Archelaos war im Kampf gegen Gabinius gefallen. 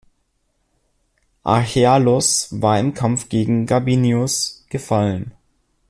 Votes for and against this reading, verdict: 1, 2, rejected